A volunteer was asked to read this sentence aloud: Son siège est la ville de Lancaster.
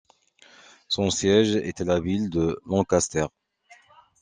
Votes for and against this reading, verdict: 2, 0, accepted